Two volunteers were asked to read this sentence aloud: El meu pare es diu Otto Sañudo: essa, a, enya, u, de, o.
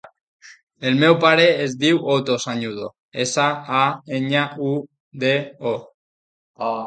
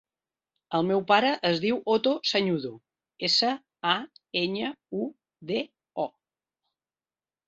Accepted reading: second